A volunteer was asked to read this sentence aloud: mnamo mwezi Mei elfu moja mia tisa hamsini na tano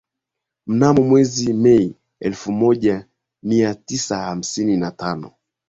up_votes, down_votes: 5, 2